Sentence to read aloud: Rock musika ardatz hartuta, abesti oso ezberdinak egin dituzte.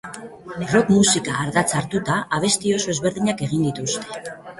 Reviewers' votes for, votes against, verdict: 2, 0, accepted